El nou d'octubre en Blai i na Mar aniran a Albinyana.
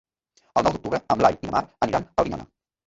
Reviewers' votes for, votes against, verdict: 0, 2, rejected